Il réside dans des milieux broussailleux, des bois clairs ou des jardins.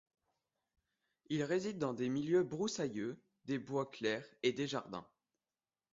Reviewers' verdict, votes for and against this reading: rejected, 1, 2